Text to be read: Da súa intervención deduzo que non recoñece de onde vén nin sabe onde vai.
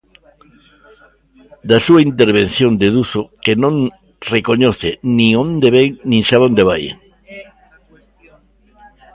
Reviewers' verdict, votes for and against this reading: rejected, 0, 2